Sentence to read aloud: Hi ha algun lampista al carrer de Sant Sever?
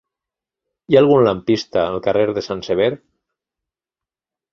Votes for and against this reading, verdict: 3, 0, accepted